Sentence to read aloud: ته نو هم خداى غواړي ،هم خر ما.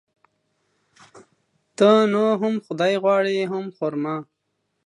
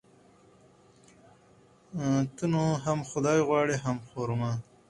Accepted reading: second